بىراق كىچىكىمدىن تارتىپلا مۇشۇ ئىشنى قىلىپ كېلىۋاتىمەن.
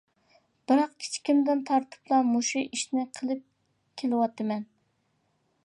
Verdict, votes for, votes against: accepted, 2, 0